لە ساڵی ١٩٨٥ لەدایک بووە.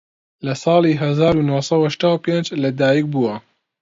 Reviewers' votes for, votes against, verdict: 0, 2, rejected